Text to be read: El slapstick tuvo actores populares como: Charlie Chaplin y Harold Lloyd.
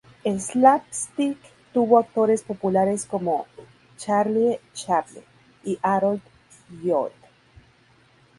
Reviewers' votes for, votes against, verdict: 0, 2, rejected